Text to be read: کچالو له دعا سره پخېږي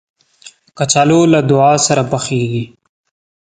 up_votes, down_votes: 2, 0